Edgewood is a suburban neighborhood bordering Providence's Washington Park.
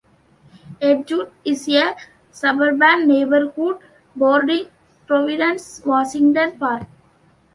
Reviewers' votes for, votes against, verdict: 0, 2, rejected